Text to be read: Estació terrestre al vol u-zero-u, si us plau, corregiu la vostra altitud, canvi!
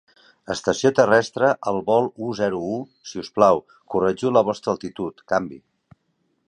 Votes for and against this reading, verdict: 2, 0, accepted